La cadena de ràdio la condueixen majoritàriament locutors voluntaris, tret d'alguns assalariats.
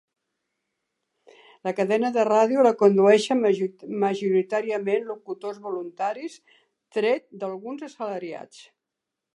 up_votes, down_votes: 1, 2